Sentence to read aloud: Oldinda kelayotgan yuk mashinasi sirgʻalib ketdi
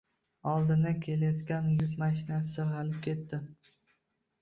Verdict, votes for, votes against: rejected, 0, 2